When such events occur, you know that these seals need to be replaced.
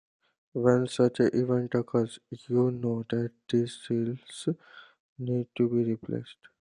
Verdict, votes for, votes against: rejected, 1, 2